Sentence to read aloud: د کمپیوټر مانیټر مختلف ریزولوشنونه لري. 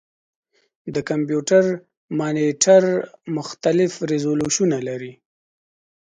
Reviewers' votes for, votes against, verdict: 2, 0, accepted